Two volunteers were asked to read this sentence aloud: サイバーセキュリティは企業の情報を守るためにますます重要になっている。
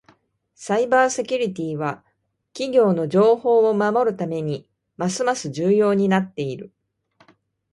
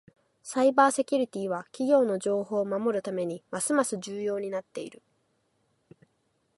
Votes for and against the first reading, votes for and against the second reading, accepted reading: 2, 0, 0, 4, first